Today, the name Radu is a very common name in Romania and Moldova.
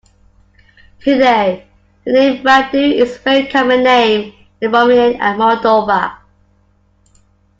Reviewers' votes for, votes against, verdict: 2, 0, accepted